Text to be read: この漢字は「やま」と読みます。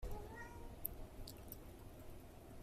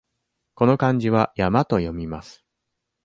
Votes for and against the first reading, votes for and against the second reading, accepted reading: 1, 2, 2, 1, second